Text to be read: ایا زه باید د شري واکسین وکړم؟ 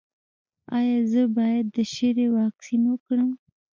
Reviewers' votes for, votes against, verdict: 2, 0, accepted